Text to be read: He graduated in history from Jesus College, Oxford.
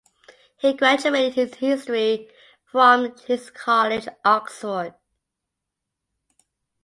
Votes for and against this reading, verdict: 1, 5, rejected